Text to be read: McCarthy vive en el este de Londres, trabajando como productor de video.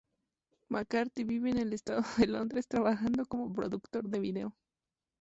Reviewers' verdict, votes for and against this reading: rejected, 0, 2